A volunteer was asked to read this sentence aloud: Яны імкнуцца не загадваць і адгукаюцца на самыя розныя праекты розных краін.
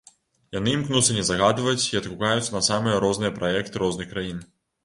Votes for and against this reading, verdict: 2, 0, accepted